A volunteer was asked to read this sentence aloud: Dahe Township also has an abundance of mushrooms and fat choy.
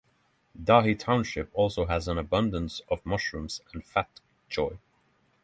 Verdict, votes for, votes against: accepted, 6, 0